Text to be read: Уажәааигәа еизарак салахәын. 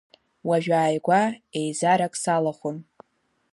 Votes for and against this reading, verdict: 2, 1, accepted